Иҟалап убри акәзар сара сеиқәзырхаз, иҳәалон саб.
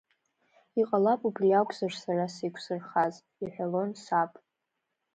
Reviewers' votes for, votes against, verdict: 2, 0, accepted